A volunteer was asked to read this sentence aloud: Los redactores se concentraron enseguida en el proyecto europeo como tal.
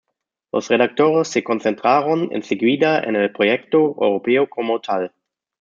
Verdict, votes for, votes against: accepted, 2, 0